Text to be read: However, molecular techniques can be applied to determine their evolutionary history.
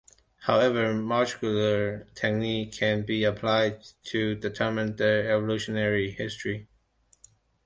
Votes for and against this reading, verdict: 1, 2, rejected